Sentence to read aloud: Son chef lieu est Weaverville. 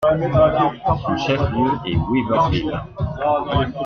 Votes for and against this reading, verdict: 2, 1, accepted